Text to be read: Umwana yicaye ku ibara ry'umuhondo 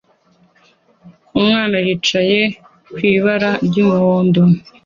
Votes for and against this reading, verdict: 2, 0, accepted